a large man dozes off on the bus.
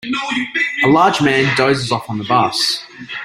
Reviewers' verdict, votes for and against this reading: rejected, 1, 2